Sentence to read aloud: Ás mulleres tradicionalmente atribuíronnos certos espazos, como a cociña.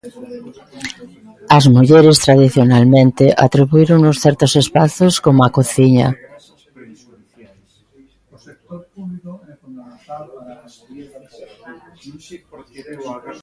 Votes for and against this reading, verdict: 0, 2, rejected